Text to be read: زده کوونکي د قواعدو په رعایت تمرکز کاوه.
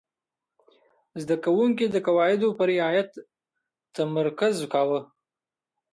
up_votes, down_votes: 2, 1